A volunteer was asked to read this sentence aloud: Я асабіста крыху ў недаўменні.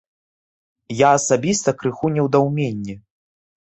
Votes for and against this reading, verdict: 1, 2, rejected